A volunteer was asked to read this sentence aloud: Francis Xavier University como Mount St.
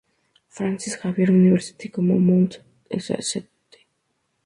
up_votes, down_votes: 0, 2